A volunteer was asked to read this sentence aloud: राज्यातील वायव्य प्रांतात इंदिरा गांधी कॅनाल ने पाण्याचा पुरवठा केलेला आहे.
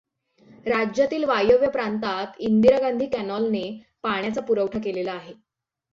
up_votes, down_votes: 6, 0